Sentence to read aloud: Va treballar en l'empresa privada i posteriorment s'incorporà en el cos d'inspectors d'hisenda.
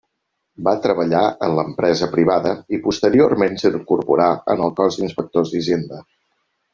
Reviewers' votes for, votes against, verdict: 0, 2, rejected